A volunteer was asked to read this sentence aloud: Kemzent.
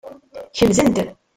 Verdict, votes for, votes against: rejected, 0, 2